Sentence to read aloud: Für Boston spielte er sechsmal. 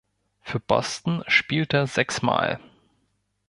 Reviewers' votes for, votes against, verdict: 0, 2, rejected